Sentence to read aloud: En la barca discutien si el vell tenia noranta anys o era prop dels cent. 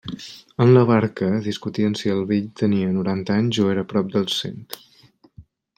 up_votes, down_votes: 2, 0